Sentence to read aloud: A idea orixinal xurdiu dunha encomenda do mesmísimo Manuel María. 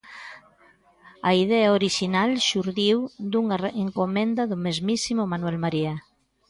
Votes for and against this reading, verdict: 0, 2, rejected